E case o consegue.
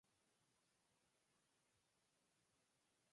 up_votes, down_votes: 0, 4